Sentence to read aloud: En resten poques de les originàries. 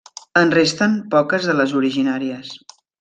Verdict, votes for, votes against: accepted, 3, 0